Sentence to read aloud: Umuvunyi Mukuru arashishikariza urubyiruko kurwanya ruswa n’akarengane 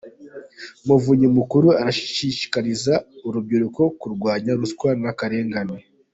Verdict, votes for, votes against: accepted, 2, 0